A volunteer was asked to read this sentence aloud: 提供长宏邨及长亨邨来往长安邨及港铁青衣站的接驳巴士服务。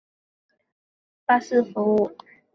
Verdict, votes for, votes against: rejected, 0, 2